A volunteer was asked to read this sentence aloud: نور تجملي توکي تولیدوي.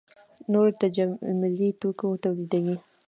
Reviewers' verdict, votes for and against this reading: accepted, 2, 1